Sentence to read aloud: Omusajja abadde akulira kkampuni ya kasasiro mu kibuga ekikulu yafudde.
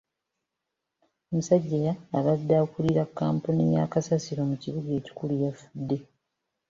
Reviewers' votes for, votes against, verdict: 1, 2, rejected